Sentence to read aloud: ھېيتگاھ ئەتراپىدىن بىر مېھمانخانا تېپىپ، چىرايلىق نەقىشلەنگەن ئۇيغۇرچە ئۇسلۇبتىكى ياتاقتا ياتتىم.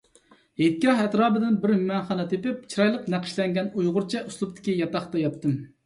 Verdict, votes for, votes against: accepted, 2, 0